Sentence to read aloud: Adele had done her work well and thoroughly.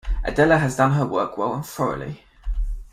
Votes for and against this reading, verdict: 0, 2, rejected